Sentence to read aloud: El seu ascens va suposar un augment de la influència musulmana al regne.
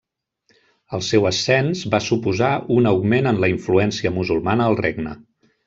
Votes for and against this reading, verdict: 0, 2, rejected